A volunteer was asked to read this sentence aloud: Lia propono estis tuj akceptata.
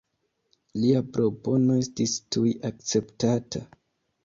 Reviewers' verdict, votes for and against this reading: accepted, 2, 0